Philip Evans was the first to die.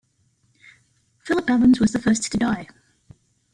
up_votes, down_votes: 1, 2